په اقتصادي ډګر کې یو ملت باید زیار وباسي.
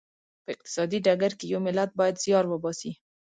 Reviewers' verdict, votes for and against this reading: accepted, 2, 0